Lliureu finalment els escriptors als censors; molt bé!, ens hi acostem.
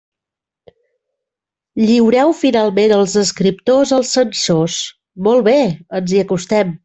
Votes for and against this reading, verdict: 3, 0, accepted